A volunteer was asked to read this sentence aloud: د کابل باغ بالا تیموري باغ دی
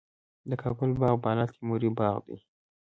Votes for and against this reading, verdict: 2, 0, accepted